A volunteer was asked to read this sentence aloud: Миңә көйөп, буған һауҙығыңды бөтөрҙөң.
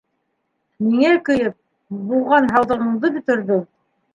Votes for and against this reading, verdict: 2, 1, accepted